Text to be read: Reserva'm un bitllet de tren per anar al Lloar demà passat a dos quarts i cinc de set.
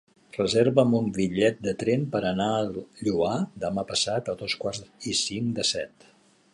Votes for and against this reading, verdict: 2, 1, accepted